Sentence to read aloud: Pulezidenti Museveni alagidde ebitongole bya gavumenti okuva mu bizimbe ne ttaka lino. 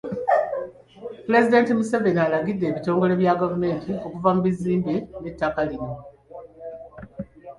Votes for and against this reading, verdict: 2, 0, accepted